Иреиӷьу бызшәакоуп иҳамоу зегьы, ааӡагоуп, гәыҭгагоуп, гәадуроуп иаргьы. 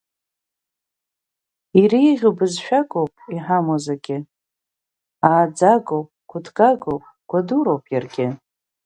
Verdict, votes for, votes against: accepted, 2, 0